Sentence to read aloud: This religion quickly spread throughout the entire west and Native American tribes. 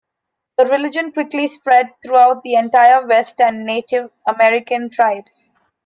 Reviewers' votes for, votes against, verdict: 0, 2, rejected